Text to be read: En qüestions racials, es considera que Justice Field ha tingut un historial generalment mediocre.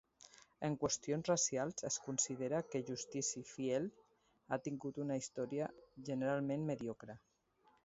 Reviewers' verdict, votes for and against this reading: rejected, 0, 2